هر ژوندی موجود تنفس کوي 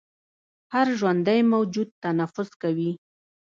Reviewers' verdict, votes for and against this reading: rejected, 1, 2